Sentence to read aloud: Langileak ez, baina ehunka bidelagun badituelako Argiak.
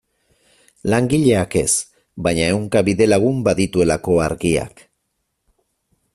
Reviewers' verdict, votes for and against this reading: accepted, 4, 0